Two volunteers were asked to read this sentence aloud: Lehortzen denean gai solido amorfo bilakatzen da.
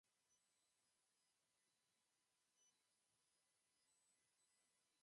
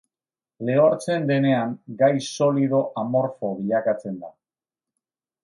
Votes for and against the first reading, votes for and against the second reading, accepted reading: 0, 3, 2, 0, second